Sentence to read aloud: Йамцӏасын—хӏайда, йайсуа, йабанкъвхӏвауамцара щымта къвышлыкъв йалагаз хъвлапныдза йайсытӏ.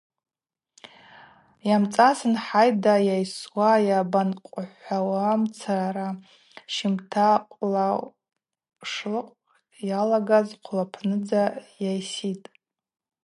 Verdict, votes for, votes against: rejected, 2, 4